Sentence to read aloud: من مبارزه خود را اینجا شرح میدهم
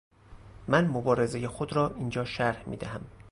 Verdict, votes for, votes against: rejected, 0, 2